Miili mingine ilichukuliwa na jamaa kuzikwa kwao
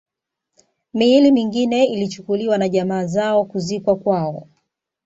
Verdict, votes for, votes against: rejected, 1, 2